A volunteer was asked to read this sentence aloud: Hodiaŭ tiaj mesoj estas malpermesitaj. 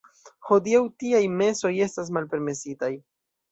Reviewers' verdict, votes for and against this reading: accepted, 2, 0